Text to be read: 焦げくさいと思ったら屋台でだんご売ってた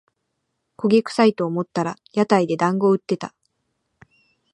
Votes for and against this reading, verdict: 2, 0, accepted